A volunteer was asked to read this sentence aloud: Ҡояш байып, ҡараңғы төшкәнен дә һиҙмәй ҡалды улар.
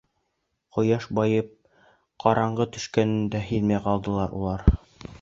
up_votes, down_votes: 2, 3